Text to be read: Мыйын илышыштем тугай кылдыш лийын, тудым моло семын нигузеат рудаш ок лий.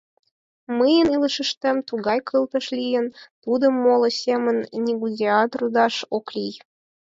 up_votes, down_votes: 4, 0